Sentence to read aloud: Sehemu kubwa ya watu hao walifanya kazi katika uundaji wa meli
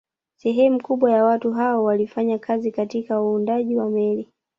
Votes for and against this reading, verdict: 1, 2, rejected